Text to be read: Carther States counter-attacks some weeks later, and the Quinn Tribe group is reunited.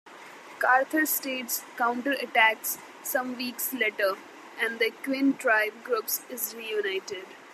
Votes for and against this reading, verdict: 0, 2, rejected